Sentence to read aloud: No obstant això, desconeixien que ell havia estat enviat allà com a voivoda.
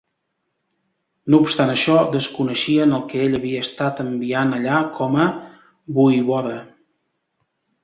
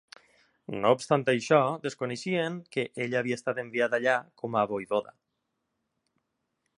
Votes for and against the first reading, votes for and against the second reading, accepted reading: 0, 2, 2, 0, second